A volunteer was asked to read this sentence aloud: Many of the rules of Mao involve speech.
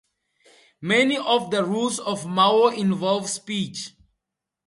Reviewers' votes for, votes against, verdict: 4, 0, accepted